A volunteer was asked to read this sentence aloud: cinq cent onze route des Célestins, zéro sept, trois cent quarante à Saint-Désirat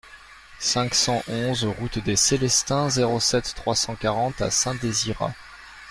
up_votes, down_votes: 2, 0